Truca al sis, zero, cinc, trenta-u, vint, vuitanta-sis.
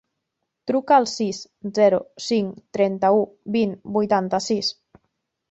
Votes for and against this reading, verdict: 4, 0, accepted